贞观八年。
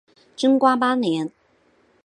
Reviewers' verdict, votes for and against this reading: rejected, 1, 2